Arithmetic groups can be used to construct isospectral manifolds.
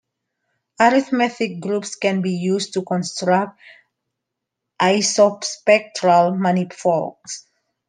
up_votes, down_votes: 1, 2